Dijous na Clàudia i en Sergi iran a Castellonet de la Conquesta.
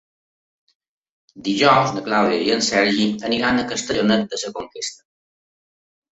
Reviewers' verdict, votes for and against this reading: rejected, 0, 4